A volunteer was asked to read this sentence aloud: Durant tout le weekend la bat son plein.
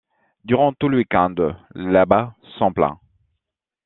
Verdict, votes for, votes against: rejected, 0, 2